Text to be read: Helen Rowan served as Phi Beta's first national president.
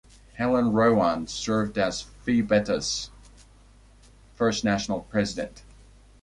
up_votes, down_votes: 1, 2